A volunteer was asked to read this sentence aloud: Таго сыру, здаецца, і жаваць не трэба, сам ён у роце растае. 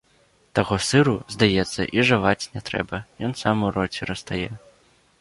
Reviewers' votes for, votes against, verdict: 1, 2, rejected